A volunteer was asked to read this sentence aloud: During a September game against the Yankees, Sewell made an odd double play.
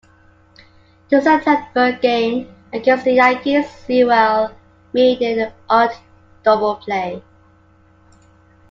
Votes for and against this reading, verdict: 0, 2, rejected